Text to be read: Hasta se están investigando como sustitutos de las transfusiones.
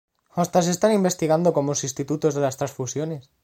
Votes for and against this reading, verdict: 1, 2, rejected